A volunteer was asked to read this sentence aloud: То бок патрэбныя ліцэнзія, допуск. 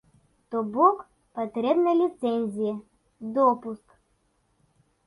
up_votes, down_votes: 2, 0